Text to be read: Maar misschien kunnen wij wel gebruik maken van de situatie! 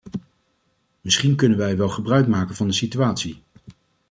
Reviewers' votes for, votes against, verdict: 1, 2, rejected